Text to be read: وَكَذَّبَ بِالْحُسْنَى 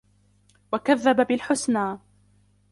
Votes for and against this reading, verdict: 2, 1, accepted